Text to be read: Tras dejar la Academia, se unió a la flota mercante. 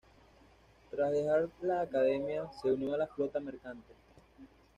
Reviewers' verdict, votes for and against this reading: accepted, 2, 0